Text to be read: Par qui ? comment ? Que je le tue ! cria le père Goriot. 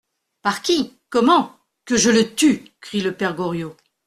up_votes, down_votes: 1, 2